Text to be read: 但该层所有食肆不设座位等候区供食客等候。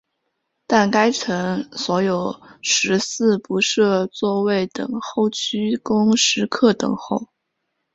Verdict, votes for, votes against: accepted, 2, 0